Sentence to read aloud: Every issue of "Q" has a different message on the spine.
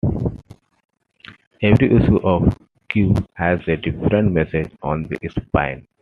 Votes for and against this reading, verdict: 2, 0, accepted